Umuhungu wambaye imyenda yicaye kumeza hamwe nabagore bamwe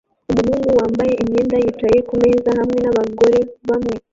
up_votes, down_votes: 1, 2